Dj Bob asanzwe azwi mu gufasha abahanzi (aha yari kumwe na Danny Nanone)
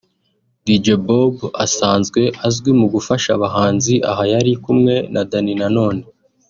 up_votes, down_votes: 2, 0